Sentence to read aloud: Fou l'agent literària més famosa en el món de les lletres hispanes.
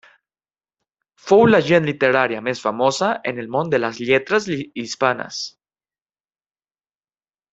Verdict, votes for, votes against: accepted, 2, 1